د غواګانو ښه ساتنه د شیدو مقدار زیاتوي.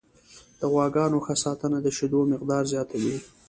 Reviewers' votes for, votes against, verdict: 2, 0, accepted